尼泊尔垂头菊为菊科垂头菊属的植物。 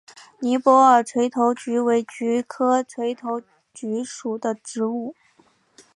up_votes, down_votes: 2, 0